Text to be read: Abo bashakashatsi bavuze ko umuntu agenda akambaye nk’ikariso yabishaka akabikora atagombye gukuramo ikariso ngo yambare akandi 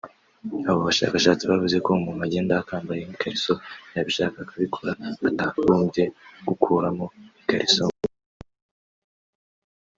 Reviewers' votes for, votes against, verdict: 1, 2, rejected